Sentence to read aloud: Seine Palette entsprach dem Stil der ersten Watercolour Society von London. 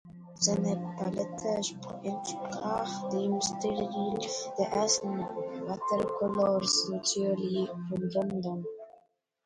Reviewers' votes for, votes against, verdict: 0, 2, rejected